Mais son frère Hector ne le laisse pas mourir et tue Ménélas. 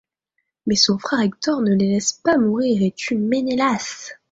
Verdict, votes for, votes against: rejected, 0, 2